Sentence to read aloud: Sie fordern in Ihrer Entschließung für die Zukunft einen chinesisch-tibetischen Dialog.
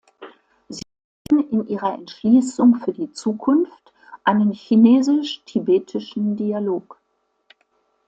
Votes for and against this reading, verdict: 1, 2, rejected